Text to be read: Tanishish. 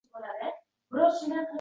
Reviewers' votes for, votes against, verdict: 0, 2, rejected